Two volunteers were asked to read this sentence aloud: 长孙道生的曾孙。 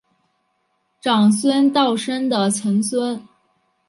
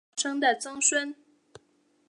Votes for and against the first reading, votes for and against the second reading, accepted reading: 3, 0, 0, 2, first